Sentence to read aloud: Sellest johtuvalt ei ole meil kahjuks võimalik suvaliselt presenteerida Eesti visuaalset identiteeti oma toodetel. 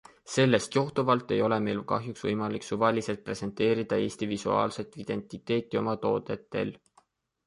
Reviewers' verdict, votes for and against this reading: accepted, 2, 0